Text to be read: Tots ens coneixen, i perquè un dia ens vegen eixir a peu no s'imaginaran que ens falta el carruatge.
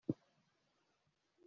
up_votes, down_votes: 0, 2